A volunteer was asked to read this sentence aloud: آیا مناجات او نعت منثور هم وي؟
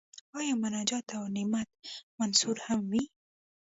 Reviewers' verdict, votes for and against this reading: rejected, 1, 2